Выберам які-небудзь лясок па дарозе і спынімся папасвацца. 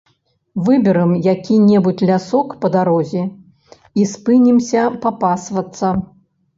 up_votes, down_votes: 2, 0